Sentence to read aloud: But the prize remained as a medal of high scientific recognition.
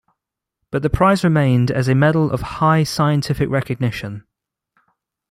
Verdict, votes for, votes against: accepted, 2, 0